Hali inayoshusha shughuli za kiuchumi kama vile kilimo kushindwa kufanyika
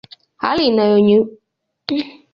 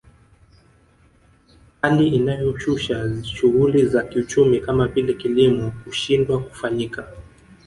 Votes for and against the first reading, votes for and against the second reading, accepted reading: 0, 2, 2, 0, second